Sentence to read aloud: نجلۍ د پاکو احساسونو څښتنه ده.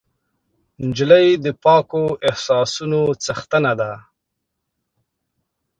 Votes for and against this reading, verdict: 2, 0, accepted